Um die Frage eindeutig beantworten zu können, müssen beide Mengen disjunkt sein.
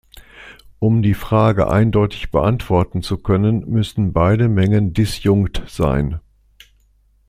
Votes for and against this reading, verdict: 2, 0, accepted